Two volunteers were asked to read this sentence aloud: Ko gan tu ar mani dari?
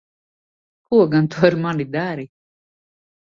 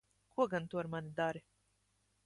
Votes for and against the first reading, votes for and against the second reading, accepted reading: 2, 0, 0, 2, first